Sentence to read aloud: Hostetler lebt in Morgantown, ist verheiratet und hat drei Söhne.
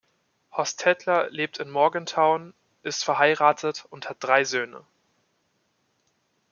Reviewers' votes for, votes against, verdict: 2, 0, accepted